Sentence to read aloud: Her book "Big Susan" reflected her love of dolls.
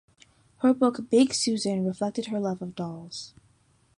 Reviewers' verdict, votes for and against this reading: accepted, 2, 0